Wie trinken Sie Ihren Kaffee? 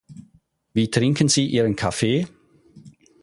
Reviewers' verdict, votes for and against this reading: accepted, 4, 0